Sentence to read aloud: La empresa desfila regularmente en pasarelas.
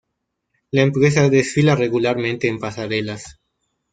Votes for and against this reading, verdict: 0, 2, rejected